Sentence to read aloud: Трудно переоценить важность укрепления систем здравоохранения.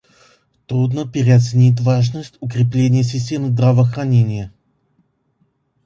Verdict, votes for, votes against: accepted, 2, 0